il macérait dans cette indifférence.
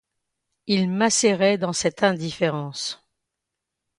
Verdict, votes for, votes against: accepted, 2, 0